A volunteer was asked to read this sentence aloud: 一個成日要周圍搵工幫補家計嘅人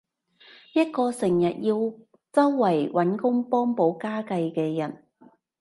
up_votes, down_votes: 3, 0